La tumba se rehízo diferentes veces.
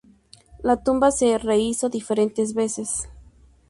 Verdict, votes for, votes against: accepted, 2, 0